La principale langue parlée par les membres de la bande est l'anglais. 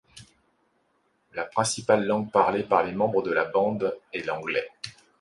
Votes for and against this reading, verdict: 2, 0, accepted